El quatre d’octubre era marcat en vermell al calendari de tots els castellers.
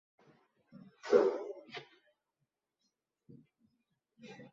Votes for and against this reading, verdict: 0, 2, rejected